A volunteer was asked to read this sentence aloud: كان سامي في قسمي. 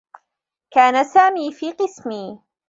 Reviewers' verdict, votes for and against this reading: accepted, 2, 1